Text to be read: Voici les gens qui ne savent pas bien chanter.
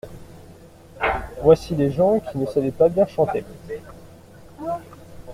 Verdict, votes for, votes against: rejected, 0, 2